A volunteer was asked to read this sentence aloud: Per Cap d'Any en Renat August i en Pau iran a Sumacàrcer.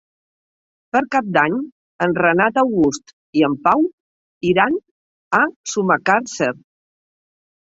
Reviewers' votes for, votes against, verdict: 5, 0, accepted